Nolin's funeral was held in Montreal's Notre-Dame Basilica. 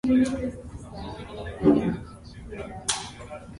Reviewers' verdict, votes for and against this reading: rejected, 0, 2